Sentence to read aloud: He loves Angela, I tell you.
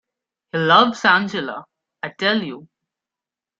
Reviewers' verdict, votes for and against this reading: rejected, 1, 2